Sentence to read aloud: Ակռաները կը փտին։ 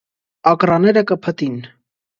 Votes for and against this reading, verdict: 2, 0, accepted